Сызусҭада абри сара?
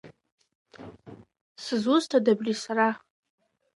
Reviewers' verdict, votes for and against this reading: rejected, 0, 2